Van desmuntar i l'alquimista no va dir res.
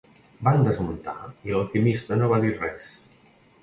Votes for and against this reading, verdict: 2, 0, accepted